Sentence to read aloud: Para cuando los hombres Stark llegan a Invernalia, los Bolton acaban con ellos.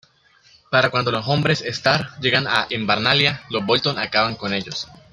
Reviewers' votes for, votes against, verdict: 1, 2, rejected